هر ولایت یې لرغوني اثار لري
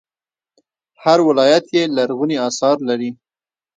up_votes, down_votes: 1, 2